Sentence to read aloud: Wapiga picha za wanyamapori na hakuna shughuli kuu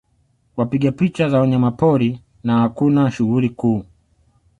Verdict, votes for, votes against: accepted, 2, 0